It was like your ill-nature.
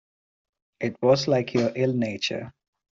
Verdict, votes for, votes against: accepted, 2, 0